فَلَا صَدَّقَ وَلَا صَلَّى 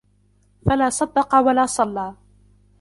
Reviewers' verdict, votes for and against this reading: accepted, 2, 1